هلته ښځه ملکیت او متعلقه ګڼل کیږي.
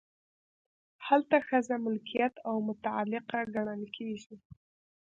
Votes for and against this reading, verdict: 2, 0, accepted